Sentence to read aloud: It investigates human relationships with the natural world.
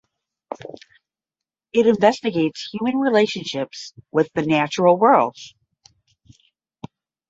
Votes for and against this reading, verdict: 10, 0, accepted